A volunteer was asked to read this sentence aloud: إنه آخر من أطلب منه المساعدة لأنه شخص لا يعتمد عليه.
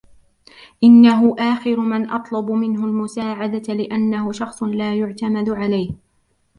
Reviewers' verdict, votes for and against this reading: rejected, 0, 2